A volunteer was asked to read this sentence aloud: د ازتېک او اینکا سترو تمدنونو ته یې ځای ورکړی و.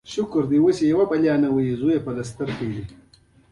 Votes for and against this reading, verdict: 2, 0, accepted